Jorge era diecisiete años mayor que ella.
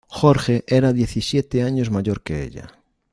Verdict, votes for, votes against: accepted, 2, 0